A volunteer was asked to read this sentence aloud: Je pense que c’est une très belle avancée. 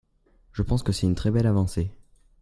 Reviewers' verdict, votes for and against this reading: accepted, 2, 0